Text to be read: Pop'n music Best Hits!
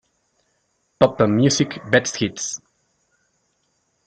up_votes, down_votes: 0, 2